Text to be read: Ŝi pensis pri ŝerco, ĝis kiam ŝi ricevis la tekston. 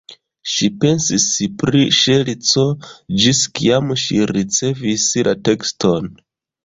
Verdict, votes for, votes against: rejected, 0, 2